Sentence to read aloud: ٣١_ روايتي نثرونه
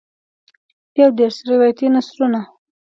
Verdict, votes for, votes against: rejected, 0, 2